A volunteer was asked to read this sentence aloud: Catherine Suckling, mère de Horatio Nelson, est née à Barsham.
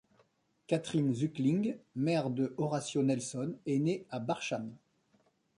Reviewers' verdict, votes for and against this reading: rejected, 1, 2